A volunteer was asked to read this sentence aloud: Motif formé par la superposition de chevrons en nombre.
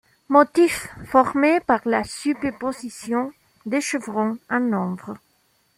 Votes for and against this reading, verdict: 2, 1, accepted